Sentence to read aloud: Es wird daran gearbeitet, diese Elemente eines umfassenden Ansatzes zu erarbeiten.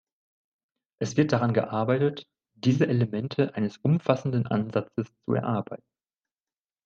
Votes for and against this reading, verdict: 2, 1, accepted